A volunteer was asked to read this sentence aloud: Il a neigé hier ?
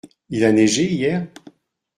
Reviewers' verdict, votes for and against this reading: accepted, 2, 0